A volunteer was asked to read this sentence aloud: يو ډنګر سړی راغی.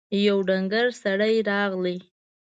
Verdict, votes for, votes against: rejected, 1, 2